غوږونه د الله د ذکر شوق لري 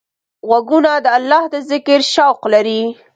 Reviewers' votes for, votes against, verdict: 2, 0, accepted